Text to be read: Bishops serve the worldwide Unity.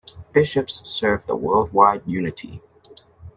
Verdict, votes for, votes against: accepted, 3, 0